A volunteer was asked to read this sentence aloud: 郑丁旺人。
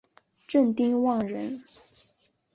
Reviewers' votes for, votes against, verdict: 1, 2, rejected